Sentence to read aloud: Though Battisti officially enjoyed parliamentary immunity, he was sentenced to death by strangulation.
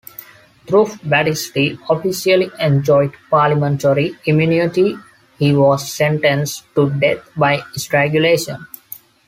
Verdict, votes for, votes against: accepted, 2, 0